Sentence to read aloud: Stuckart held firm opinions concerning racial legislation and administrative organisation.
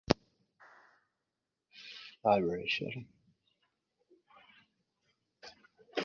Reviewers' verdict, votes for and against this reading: rejected, 0, 3